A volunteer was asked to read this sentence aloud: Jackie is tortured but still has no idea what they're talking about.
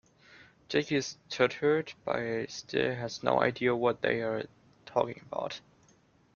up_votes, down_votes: 1, 2